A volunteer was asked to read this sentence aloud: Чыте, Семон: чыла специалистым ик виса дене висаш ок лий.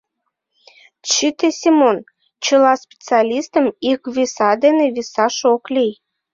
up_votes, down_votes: 2, 0